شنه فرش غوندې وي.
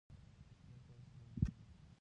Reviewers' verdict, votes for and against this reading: rejected, 0, 2